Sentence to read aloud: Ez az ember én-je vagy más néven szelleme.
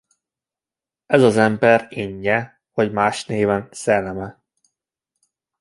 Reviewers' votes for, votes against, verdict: 0, 2, rejected